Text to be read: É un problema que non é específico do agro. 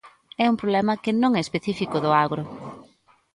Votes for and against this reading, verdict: 2, 0, accepted